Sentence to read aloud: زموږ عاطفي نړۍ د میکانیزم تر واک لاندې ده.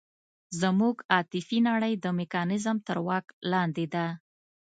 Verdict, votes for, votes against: accepted, 2, 0